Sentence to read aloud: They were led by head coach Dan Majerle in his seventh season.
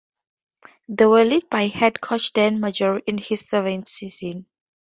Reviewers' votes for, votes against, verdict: 2, 0, accepted